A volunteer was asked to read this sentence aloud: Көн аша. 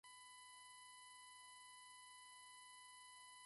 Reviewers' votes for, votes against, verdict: 1, 2, rejected